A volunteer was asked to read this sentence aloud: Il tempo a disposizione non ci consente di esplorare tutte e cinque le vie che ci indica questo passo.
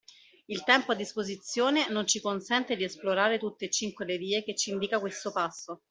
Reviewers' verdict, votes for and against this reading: accepted, 2, 1